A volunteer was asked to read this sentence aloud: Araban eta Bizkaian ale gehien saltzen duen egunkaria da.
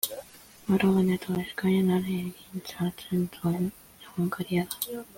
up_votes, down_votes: 1, 2